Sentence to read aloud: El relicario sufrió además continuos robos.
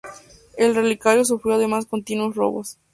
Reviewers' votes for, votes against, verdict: 4, 2, accepted